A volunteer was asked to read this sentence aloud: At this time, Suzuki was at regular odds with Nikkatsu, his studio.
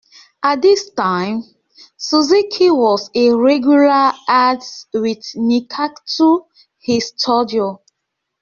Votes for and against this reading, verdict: 0, 2, rejected